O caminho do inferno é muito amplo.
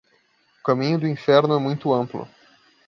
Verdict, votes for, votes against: rejected, 1, 2